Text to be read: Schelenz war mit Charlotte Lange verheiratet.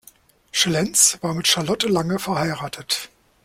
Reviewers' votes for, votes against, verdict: 1, 2, rejected